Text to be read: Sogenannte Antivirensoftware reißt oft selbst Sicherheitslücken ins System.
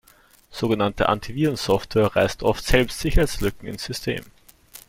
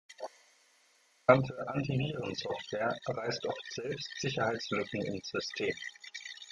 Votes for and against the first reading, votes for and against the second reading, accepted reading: 2, 1, 0, 2, first